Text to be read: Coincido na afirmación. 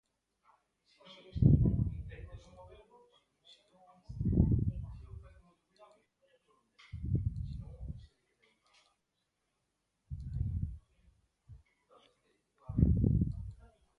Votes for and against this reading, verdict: 0, 2, rejected